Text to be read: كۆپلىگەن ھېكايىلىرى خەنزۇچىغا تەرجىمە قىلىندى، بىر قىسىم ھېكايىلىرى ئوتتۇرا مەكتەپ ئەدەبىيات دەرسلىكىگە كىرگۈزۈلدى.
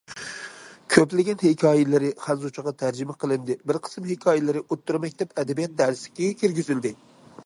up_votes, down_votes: 2, 0